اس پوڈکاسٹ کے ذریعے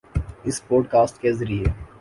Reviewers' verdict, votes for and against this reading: accepted, 2, 0